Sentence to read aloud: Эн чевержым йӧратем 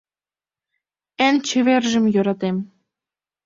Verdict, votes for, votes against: accepted, 2, 0